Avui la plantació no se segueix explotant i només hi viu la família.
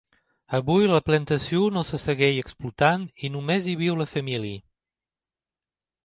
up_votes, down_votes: 1, 2